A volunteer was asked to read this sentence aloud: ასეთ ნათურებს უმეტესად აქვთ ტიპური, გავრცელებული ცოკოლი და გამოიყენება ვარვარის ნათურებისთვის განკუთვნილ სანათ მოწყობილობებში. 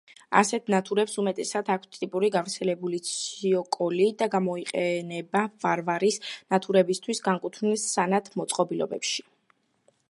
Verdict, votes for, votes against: rejected, 0, 2